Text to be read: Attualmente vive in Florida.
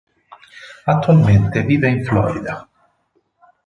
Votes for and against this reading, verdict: 4, 0, accepted